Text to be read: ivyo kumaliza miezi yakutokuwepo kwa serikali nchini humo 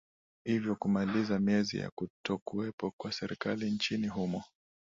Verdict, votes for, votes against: accepted, 2, 0